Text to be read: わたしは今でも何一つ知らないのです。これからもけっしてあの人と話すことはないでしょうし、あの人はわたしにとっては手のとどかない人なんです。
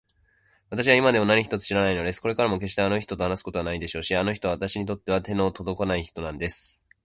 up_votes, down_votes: 2, 0